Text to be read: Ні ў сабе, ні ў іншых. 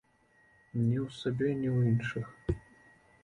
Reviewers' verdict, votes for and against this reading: accepted, 2, 0